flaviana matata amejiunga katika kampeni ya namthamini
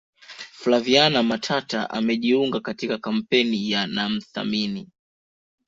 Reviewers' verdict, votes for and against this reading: accepted, 2, 0